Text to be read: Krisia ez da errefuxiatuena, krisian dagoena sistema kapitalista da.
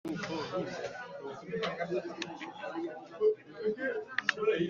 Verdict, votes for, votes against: rejected, 0, 2